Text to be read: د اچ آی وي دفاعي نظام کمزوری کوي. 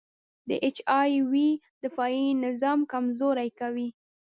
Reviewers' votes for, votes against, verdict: 1, 2, rejected